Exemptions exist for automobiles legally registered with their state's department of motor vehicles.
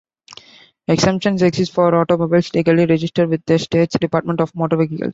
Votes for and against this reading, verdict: 1, 2, rejected